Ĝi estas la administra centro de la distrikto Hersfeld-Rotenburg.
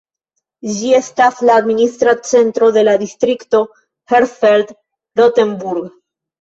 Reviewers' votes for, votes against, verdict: 1, 2, rejected